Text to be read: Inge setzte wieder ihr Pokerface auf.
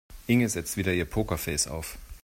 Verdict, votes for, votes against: accepted, 2, 0